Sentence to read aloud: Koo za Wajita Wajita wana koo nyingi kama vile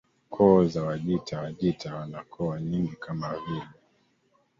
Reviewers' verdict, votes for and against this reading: rejected, 1, 2